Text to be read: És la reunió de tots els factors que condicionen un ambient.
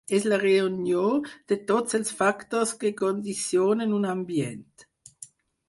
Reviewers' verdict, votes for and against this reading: accepted, 4, 0